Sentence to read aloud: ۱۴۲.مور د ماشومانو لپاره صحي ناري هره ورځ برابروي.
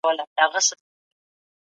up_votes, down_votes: 0, 2